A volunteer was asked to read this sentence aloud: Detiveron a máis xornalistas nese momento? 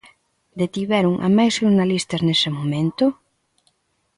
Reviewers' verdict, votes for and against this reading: accepted, 2, 0